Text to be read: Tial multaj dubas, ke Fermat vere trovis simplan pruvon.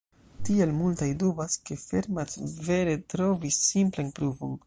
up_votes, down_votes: 1, 2